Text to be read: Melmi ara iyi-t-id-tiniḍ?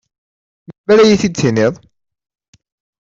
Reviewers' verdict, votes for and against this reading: rejected, 1, 2